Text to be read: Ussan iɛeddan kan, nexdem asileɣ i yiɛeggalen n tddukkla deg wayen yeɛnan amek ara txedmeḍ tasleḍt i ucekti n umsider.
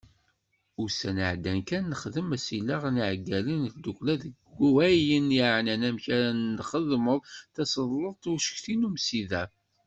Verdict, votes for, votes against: rejected, 1, 2